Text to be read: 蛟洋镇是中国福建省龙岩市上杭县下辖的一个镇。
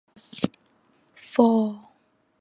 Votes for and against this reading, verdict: 1, 4, rejected